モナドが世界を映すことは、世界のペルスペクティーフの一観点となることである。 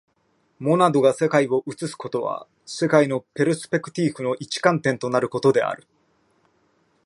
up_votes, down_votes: 2, 0